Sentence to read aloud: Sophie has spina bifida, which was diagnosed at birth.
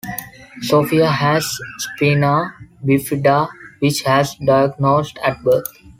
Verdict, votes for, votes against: rejected, 1, 2